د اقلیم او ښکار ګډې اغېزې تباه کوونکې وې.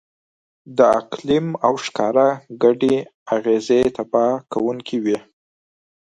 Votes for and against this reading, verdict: 2, 4, rejected